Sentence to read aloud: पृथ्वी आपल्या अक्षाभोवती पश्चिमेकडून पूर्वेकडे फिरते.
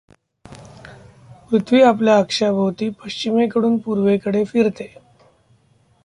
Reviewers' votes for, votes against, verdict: 1, 2, rejected